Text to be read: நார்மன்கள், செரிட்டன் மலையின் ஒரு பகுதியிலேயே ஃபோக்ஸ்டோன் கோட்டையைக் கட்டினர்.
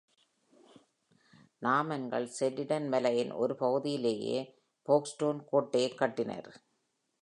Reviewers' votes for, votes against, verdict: 2, 1, accepted